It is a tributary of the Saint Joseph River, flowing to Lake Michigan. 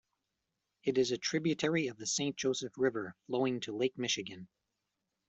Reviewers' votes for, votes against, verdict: 2, 0, accepted